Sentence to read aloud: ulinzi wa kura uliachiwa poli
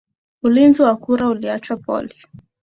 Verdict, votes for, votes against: accepted, 4, 0